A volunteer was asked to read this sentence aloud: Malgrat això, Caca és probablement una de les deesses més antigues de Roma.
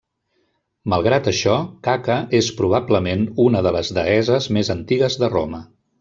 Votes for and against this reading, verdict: 1, 2, rejected